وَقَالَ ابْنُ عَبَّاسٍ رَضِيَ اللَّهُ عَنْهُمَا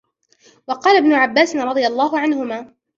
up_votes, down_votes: 0, 2